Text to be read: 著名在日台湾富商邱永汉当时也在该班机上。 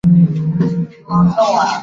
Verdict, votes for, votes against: rejected, 0, 6